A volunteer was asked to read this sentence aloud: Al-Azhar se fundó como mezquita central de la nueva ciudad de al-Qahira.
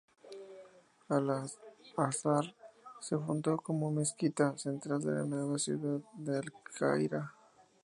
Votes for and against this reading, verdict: 2, 0, accepted